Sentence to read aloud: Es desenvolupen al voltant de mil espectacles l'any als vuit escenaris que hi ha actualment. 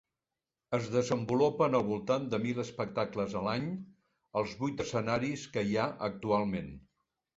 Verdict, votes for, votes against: accepted, 2, 1